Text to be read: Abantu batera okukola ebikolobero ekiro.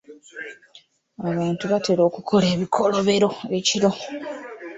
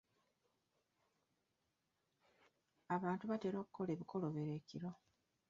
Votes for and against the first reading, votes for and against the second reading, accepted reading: 2, 0, 1, 2, first